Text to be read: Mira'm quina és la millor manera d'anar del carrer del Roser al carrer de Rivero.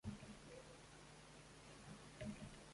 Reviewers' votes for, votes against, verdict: 0, 2, rejected